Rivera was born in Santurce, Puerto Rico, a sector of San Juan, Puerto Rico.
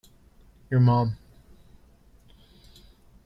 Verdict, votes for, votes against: rejected, 0, 2